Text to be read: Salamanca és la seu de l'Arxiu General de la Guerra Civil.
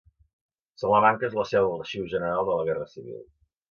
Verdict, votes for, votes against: accepted, 2, 0